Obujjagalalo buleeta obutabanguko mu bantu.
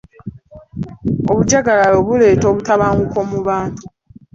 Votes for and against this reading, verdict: 2, 0, accepted